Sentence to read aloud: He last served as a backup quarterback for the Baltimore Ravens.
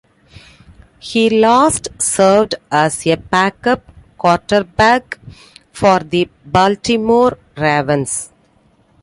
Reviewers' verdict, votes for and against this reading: accepted, 2, 0